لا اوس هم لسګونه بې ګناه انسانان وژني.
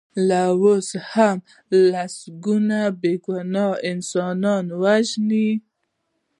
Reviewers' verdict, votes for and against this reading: accepted, 3, 1